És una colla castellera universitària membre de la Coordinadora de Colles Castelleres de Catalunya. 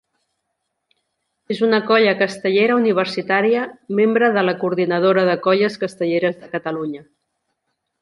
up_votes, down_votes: 2, 0